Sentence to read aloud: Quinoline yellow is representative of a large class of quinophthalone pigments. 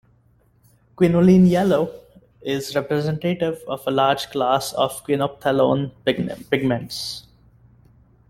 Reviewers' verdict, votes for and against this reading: rejected, 0, 2